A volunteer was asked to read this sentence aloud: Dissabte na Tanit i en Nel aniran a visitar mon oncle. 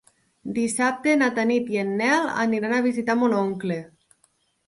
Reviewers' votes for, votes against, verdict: 4, 0, accepted